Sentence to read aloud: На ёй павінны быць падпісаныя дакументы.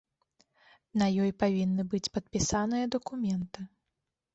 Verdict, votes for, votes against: accepted, 2, 1